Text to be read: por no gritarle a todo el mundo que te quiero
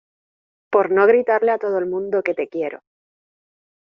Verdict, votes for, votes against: accepted, 2, 0